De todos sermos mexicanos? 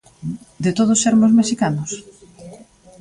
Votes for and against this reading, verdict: 1, 2, rejected